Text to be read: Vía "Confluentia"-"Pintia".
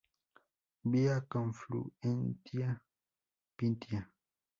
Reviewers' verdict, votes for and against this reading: rejected, 2, 2